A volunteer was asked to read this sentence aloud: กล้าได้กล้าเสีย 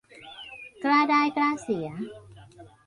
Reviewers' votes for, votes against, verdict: 2, 1, accepted